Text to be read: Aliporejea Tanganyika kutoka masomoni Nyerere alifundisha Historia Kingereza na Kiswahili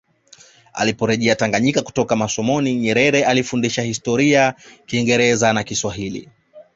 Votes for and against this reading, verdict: 2, 1, accepted